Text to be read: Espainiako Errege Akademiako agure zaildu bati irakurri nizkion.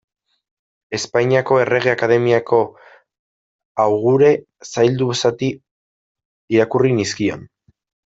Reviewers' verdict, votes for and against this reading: rejected, 0, 2